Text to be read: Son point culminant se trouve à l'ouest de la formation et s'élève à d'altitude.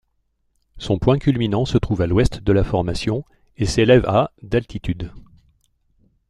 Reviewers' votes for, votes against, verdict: 2, 0, accepted